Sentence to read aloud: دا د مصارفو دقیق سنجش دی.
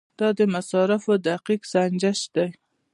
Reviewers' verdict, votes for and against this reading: accepted, 2, 0